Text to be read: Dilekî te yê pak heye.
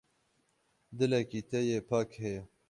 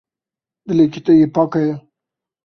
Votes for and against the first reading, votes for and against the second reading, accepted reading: 6, 6, 2, 0, second